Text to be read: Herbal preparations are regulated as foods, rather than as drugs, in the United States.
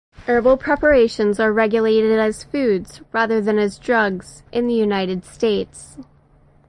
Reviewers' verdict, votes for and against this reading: accepted, 8, 0